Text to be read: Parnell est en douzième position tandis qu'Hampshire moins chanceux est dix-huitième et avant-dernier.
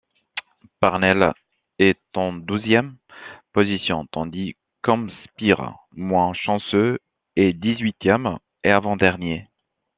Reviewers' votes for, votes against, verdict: 1, 2, rejected